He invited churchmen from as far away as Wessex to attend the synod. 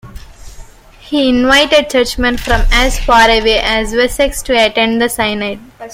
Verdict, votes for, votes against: accepted, 2, 1